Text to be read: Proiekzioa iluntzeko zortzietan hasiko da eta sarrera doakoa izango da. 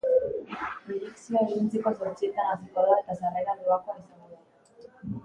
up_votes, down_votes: 2, 2